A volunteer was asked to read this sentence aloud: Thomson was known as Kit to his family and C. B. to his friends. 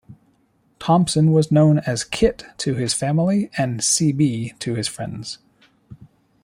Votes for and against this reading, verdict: 2, 0, accepted